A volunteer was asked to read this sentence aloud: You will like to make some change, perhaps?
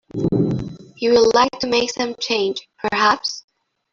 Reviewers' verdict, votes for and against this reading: rejected, 1, 2